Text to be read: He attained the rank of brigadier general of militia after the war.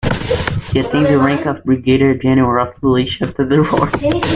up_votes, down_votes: 2, 1